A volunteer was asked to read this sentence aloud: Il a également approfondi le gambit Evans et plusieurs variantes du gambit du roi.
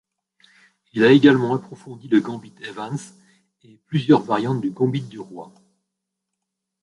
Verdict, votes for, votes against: rejected, 0, 2